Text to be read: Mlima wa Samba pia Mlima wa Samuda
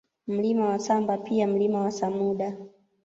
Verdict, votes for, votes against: accepted, 2, 0